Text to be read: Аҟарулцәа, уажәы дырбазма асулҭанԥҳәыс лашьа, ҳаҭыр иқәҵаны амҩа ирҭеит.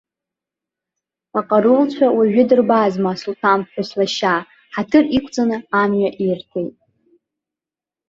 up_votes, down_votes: 1, 2